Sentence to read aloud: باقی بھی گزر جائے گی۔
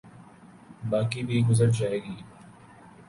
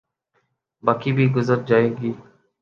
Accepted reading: second